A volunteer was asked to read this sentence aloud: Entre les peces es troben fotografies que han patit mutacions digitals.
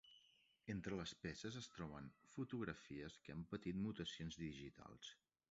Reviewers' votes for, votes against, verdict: 0, 2, rejected